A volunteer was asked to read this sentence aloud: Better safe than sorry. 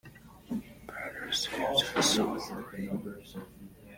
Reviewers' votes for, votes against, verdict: 0, 2, rejected